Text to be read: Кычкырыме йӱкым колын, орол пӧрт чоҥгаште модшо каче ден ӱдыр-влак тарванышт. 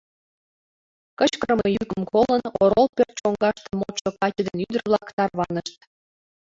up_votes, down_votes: 1, 2